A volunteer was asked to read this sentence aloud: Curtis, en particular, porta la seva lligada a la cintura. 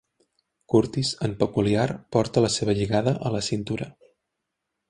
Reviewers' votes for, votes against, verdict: 1, 2, rejected